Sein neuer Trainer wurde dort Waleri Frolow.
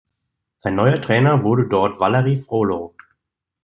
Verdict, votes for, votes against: rejected, 1, 2